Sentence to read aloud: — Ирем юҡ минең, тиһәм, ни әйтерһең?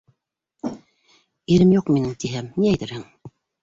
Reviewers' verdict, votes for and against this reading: accepted, 2, 0